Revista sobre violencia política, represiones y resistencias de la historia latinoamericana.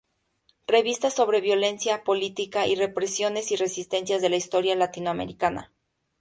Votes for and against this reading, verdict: 0, 4, rejected